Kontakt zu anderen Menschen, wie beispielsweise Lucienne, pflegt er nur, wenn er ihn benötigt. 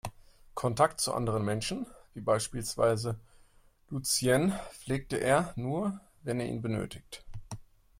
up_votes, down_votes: 0, 2